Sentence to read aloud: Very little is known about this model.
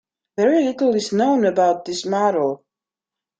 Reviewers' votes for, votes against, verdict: 2, 0, accepted